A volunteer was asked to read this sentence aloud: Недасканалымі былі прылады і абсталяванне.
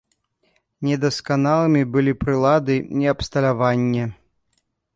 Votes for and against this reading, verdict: 2, 0, accepted